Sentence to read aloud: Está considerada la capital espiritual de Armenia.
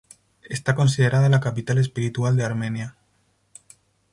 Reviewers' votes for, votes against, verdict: 2, 0, accepted